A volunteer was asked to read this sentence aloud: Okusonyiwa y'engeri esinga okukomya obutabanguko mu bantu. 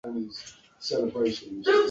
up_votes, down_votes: 0, 2